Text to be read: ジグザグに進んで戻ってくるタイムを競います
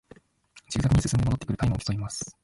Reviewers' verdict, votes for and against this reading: rejected, 1, 2